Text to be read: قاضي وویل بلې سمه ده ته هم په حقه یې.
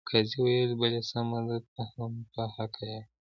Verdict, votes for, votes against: rejected, 1, 2